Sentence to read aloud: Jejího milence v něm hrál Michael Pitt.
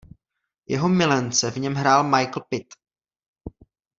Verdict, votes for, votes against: rejected, 1, 2